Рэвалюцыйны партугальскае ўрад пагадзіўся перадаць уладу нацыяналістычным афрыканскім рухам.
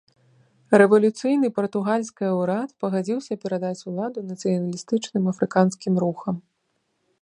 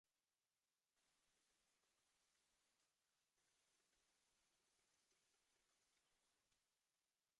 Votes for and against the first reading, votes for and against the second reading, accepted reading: 2, 0, 0, 2, first